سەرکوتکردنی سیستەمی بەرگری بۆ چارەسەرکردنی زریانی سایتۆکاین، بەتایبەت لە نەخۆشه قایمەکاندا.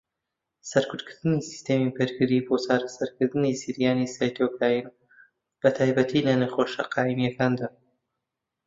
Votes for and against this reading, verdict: 0, 2, rejected